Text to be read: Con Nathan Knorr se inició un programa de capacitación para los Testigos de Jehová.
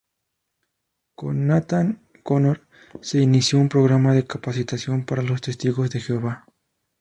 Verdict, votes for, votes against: rejected, 0, 2